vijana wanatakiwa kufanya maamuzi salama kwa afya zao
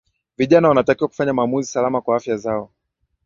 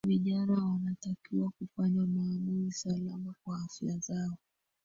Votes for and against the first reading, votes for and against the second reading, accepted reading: 2, 0, 1, 2, first